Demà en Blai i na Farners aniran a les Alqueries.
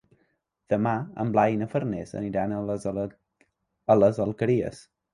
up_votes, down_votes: 0, 2